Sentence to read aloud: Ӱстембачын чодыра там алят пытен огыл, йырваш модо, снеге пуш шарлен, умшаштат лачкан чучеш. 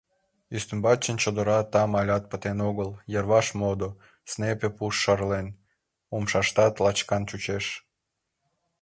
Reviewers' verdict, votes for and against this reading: rejected, 1, 4